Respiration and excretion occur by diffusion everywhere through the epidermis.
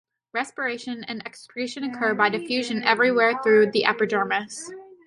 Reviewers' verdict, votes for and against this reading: rejected, 1, 2